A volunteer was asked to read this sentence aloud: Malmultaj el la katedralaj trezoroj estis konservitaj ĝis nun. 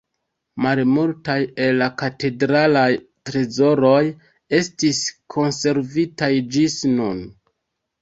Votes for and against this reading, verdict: 1, 2, rejected